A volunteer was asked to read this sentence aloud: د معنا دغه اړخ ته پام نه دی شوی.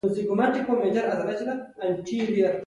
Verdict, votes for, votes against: rejected, 0, 2